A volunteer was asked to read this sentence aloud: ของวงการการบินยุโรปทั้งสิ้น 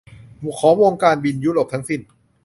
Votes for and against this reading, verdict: 0, 2, rejected